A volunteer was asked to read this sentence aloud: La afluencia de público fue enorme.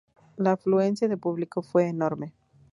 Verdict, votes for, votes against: accepted, 2, 0